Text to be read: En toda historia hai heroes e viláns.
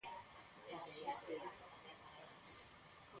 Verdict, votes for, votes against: rejected, 0, 2